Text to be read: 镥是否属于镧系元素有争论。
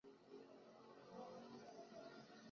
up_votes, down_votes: 0, 2